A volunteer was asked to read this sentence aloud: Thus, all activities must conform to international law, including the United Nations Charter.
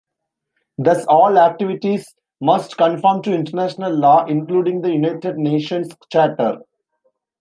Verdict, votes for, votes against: rejected, 0, 2